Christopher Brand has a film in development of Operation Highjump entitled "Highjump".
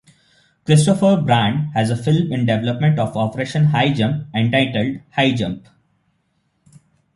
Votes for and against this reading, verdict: 2, 0, accepted